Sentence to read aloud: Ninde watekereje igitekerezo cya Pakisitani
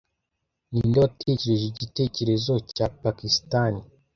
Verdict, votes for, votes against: accepted, 2, 0